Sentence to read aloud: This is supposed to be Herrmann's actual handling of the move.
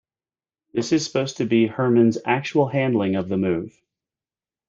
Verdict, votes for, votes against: accepted, 2, 0